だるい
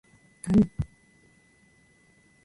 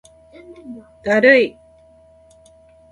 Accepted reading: first